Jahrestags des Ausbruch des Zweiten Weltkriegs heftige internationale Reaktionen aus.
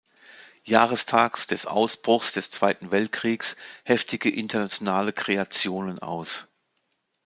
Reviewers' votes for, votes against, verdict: 0, 2, rejected